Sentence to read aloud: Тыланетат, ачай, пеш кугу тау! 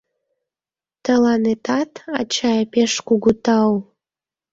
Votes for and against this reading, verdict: 1, 2, rejected